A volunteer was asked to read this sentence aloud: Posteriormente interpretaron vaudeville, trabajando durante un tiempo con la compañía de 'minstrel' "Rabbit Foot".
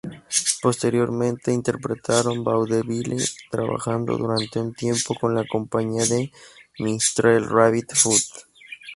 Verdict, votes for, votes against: accepted, 4, 0